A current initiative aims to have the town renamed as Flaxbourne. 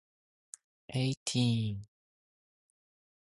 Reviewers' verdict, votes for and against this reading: rejected, 0, 2